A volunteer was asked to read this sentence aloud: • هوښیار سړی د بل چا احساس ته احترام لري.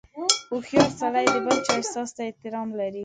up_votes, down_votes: 2, 1